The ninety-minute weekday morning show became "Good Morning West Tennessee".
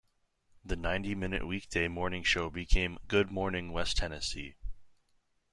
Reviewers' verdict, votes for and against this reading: accepted, 2, 0